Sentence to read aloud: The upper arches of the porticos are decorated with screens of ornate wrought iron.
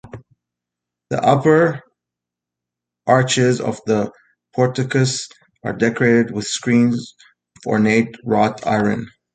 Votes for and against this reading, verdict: 2, 1, accepted